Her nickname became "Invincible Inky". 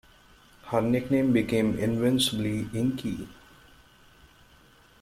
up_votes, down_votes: 1, 2